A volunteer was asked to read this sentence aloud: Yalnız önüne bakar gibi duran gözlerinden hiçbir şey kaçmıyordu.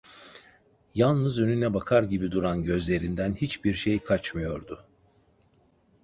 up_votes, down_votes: 2, 0